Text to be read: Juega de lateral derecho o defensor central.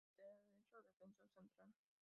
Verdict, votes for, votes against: rejected, 0, 2